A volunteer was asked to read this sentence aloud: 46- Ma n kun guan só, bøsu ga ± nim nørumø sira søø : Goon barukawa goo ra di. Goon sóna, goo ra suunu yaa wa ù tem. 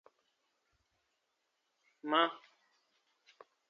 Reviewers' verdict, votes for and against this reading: rejected, 0, 2